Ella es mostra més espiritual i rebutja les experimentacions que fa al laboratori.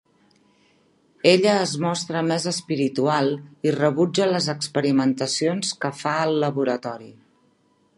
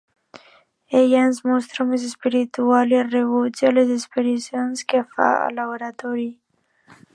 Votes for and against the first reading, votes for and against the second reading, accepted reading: 3, 0, 0, 2, first